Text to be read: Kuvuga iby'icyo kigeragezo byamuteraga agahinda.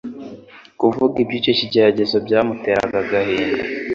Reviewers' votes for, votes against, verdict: 2, 0, accepted